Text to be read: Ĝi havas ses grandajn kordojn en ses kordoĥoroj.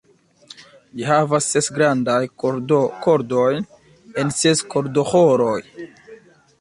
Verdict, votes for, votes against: rejected, 0, 2